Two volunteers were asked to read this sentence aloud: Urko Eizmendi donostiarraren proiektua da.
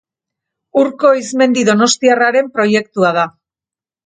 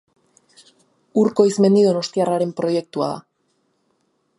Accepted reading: second